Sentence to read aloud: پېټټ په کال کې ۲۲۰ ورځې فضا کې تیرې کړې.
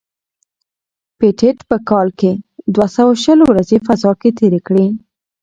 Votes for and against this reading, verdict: 0, 2, rejected